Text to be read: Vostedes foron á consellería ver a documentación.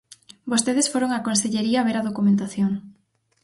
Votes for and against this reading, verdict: 2, 4, rejected